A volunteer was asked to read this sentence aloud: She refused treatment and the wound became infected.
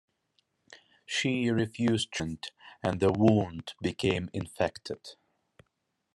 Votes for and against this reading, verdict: 0, 2, rejected